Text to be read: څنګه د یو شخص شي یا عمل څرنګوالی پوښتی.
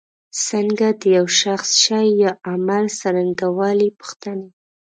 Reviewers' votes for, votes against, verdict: 1, 2, rejected